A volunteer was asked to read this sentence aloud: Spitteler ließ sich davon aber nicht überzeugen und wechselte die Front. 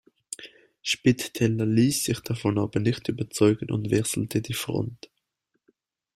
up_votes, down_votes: 0, 2